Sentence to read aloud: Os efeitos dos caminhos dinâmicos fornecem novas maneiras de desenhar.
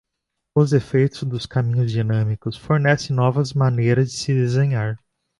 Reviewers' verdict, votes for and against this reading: rejected, 1, 2